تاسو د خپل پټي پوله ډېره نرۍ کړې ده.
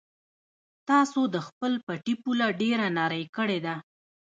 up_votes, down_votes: 0, 2